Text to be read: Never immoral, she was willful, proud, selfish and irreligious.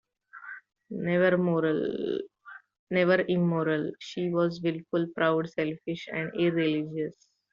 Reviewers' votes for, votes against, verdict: 0, 2, rejected